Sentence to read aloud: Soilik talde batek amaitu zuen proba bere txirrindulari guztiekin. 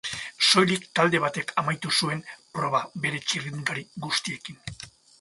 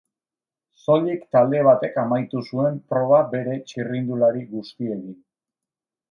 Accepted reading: first